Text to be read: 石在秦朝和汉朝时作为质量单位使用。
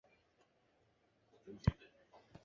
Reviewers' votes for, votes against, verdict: 3, 5, rejected